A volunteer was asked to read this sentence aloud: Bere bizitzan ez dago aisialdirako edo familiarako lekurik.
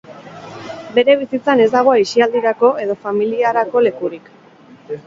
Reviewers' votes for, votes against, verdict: 2, 4, rejected